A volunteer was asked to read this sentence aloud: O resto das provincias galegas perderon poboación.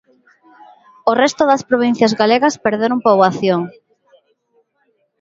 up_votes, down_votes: 1, 2